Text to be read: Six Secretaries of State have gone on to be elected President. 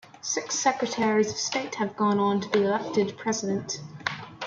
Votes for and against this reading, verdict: 2, 0, accepted